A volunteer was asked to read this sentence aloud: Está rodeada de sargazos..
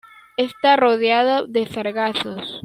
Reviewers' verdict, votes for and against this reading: rejected, 1, 2